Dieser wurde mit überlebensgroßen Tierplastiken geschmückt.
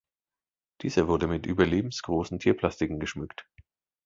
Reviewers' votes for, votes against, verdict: 2, 0, accepted